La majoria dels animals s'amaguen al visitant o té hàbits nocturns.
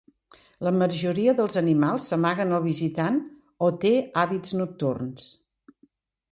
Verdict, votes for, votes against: accepted, 2, 0